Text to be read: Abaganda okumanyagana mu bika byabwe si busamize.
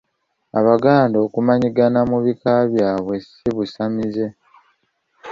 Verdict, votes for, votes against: rejected, 1, 2